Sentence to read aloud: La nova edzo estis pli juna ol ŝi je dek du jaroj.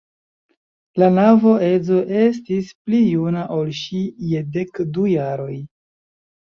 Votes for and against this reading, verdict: 0, 3, rejected